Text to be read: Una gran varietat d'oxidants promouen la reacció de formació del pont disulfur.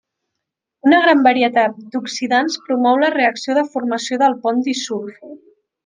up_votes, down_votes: 0, 2